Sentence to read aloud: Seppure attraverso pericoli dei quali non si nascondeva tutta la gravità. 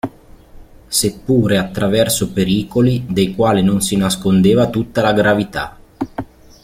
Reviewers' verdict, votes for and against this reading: accepted, 2, 0